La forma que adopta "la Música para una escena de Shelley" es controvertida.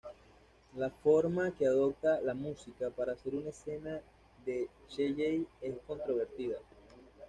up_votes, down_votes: 1, 2